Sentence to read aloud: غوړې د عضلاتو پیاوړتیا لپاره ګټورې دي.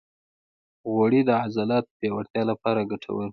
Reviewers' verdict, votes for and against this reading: accepted, 2, 0